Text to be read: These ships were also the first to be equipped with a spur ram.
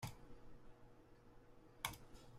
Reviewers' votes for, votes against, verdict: 0, 2, rejected